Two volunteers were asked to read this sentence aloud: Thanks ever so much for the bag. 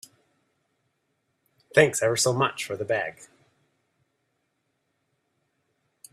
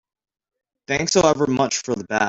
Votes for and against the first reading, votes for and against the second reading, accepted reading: 2, 0, 0, 2, first